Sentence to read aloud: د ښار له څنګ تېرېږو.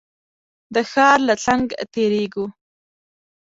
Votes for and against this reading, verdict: 2, 1, accepted